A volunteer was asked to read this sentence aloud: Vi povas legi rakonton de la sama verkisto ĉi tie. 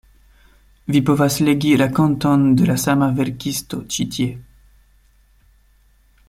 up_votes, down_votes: 2, 0